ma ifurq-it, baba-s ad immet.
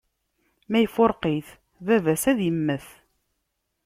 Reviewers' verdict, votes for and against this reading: accepted, 2, 0